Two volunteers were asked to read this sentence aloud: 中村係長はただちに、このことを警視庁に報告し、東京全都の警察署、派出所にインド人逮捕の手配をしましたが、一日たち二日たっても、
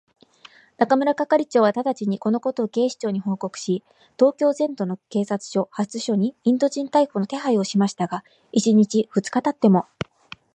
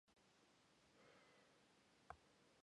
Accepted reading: first